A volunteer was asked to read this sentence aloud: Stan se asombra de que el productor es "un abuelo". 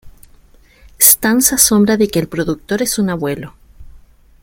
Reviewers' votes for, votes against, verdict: 2, 0, accepted